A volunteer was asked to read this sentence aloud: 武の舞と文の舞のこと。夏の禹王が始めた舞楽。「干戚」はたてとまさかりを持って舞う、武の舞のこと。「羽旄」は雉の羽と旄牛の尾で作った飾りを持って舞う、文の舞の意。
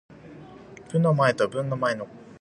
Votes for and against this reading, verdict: 0, 2, rejected